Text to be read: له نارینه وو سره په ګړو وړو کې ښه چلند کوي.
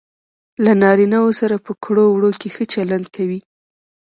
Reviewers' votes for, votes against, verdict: 1, 2, rejected